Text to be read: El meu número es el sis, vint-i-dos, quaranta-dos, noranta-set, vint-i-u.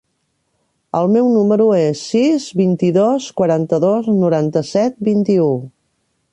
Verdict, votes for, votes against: rejected, 0, 2